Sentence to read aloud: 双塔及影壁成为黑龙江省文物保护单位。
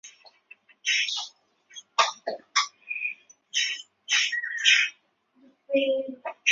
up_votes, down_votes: 1, 2